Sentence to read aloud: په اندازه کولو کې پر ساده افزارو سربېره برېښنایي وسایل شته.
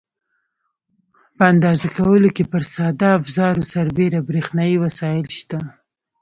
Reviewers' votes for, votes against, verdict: 2, 0, accepted